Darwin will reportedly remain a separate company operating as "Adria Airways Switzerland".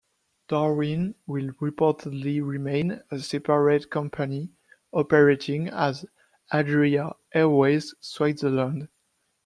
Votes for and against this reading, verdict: 2, 0, accepted